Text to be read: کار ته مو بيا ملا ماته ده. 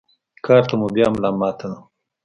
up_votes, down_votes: 2, 0